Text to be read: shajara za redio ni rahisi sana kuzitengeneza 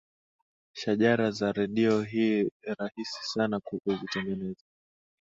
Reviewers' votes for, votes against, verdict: 4, 5, rejected